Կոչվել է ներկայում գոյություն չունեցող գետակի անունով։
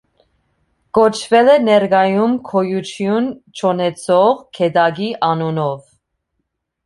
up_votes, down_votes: 2, 1